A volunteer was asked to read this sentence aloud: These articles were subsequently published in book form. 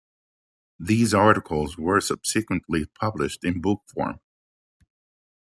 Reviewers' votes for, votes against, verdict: 0, 2, rejected